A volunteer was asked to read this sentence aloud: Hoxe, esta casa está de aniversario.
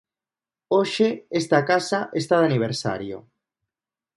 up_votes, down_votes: 2, 0